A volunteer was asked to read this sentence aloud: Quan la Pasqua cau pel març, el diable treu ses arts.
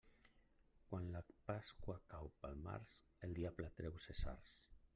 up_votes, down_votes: 1, 2